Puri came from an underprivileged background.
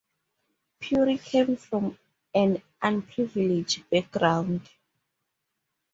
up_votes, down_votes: 0, 2